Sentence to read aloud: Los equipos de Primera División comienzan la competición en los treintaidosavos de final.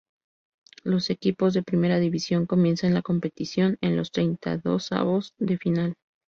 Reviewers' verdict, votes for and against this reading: accepted, 4, 0